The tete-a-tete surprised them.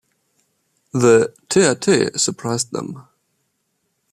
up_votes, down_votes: 1, 2